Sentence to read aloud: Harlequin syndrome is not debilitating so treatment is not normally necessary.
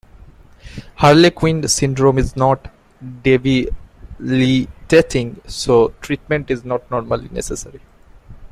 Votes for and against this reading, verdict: 0, 2, rejected